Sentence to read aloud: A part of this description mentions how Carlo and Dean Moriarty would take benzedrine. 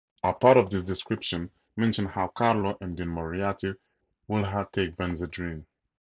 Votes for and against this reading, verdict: 2, 2, rejected